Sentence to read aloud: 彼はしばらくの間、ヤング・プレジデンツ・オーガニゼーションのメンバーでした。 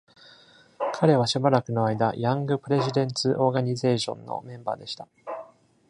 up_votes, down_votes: 2, 0